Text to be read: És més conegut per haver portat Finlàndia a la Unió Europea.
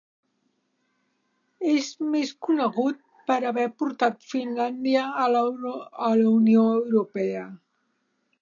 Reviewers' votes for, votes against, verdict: 0, 2, rejected